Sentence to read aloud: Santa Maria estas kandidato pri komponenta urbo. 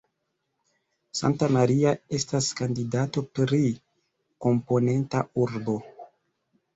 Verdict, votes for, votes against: rejected, 1, 2